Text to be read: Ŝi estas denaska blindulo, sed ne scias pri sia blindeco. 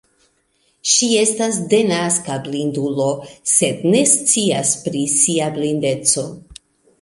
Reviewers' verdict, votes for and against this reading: accepted, 2, 0